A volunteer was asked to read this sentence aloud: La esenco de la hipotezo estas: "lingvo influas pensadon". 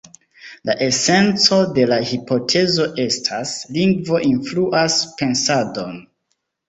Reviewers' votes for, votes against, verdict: 2, 0, accepted